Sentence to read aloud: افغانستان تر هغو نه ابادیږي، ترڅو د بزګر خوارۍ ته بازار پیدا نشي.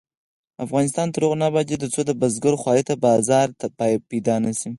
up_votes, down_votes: 0, 4